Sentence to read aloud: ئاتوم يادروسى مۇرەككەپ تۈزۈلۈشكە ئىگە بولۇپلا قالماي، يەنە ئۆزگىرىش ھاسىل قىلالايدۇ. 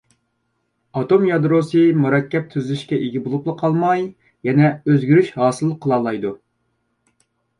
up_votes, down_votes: 2, 0